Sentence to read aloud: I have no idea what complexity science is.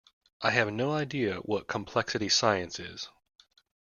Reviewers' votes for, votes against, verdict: 2, 0, accepted